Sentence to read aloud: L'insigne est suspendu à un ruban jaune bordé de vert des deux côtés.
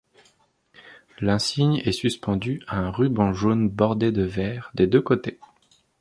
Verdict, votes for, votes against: accepted, 2, 0